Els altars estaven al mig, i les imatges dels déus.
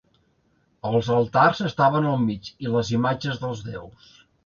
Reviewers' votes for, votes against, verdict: 2, 0, accepted